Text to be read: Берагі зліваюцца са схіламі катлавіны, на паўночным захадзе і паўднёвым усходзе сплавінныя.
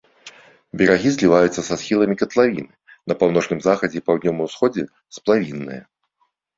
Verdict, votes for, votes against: accepted, 2, 0